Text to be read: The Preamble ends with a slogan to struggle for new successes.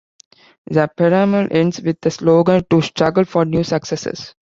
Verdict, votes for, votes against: rejected, 0, 2